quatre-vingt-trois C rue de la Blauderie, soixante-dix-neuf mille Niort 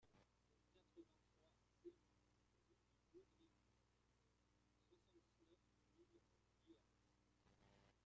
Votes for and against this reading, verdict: 0, 2, rejected